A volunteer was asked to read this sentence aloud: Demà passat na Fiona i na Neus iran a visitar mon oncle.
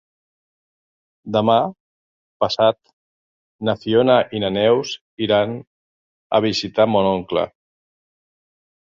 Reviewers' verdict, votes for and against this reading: accepted, 3, 0